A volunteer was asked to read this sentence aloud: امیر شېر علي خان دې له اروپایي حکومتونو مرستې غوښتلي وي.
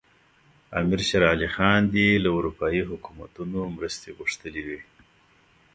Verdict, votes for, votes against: accepted, 2, 1